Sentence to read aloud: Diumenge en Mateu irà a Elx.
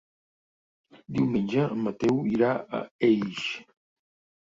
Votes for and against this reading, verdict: 1, 2, rejected